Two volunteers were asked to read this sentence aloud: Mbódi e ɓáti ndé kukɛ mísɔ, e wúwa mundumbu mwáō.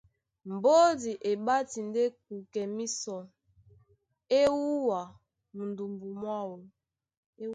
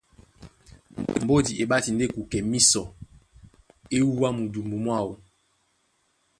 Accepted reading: second